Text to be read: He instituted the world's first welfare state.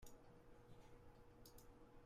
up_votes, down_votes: 0, 2